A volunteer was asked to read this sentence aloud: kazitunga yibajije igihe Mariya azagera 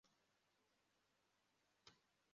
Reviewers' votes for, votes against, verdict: 0, 2, rejected